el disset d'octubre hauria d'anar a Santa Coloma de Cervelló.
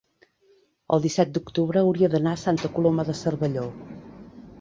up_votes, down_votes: 3, 0